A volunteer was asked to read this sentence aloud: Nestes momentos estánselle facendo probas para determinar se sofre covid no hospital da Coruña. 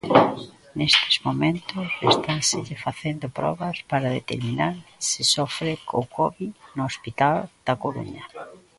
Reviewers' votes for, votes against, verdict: 0, 2, rejected